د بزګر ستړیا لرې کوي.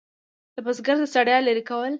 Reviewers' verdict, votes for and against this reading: accepted, 2, 0